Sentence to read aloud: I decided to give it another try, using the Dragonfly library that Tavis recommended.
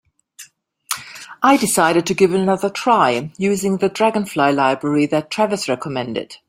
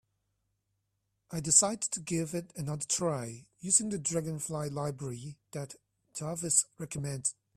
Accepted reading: second